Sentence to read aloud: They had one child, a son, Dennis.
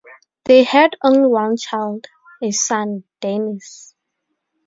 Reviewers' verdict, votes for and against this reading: rejected, 0, 2